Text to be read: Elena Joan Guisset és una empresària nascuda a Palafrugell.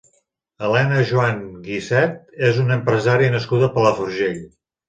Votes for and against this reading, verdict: 2, 0, accepted